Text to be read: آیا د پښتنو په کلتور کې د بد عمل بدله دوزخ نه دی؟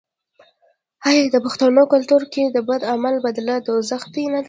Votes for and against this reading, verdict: 1, 2, rejected